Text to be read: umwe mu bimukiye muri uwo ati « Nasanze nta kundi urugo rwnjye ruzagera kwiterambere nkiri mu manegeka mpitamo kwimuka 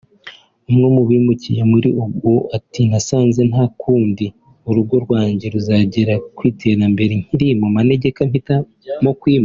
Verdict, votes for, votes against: rejected, 0, 2